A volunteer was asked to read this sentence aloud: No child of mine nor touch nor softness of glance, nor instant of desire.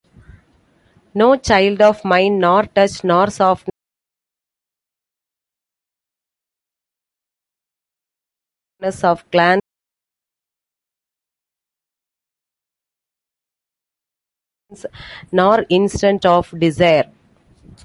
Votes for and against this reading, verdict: 1, 2, rejected